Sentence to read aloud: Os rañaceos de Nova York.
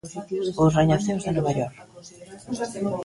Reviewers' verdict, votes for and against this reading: rejected, 0, 3